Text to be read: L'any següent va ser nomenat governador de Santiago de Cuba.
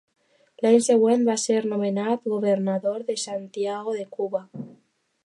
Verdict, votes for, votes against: accepted, 2, 0